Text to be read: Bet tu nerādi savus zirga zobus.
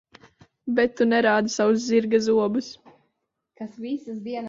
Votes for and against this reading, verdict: 1, 2, rejected